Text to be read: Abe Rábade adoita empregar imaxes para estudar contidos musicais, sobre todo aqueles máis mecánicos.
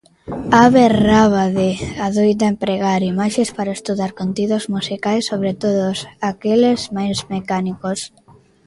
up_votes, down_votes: 1, 2